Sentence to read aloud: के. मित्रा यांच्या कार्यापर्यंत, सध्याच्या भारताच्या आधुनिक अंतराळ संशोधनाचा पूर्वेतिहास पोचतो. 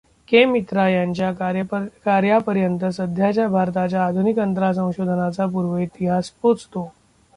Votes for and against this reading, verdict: 0, 2, rejected